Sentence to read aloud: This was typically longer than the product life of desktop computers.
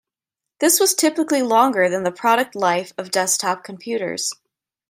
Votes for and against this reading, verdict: 2, 0, accepted